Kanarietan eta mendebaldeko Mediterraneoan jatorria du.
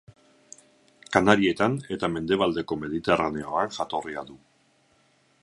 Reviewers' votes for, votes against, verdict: 2, 2, rejected